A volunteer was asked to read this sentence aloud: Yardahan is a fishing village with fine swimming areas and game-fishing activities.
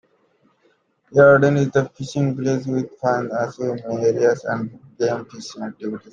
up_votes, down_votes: 0, 2